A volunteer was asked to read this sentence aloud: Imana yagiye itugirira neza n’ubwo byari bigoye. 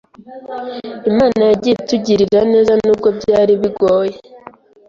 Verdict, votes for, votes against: accepted, 3, 0